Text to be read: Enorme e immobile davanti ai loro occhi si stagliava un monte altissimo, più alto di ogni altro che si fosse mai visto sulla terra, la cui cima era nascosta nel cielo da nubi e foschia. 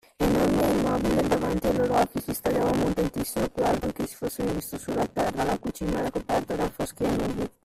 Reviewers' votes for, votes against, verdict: 0, 2, rejected